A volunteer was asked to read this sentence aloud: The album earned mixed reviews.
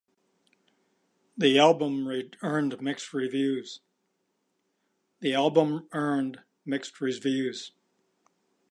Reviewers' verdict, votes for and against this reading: rejected, 0, 2